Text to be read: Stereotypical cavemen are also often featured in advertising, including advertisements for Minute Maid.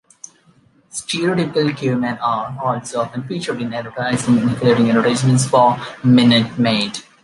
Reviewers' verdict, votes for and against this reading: rejected, 0, 2